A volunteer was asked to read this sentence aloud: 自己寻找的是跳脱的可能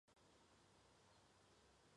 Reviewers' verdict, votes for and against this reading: rejected, 0, 2